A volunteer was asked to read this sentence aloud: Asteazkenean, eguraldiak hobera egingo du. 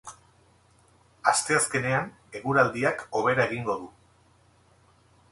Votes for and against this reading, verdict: 2, 0, accepted